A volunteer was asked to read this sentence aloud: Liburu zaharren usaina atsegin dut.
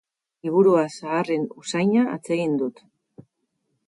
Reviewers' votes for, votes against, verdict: 0, 4, rejected